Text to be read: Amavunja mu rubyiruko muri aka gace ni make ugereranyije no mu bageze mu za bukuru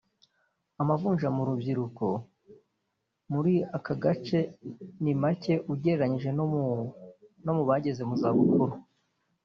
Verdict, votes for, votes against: rejected, 1, 2